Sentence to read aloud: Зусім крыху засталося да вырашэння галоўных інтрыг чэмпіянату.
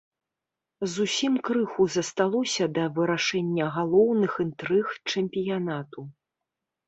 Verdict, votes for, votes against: accepted, 2, 0